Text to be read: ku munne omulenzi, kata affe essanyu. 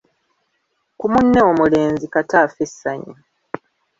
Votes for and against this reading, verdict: 2, 0, accepted